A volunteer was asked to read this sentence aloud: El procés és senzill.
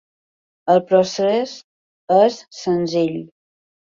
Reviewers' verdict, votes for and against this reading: accepted, 4, 0